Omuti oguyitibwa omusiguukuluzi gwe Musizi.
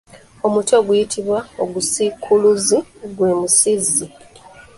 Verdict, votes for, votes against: rejected, 1, 2